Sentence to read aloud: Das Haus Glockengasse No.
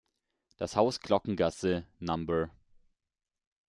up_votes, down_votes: 0, 2